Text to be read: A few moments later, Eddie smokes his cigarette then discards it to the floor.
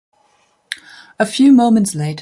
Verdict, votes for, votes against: rejected, 0, 2